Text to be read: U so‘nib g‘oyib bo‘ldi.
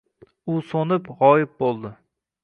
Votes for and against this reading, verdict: 2, 1, accepted